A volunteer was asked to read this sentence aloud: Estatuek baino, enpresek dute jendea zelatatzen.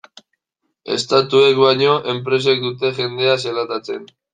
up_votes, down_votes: 2, 1